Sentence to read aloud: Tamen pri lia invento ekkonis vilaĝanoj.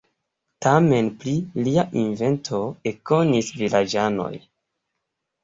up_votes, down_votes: 2, 0